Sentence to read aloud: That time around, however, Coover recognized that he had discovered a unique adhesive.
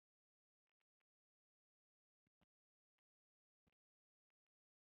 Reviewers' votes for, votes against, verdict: 0, 2, rejected